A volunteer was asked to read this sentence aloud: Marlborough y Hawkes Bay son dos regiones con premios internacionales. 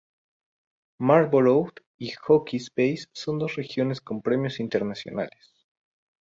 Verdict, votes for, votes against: rejected, 0, 2